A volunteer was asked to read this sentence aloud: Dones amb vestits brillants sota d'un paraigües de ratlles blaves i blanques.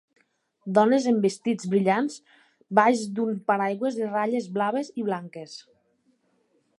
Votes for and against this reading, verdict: 1, 2, rejected